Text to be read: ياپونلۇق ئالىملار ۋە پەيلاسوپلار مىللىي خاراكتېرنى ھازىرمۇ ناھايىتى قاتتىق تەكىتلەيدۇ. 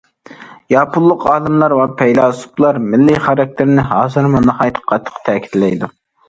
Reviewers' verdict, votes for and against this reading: accepted, 2, 0